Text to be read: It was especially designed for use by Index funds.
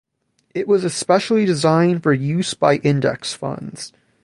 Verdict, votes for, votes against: rejected, 0, 2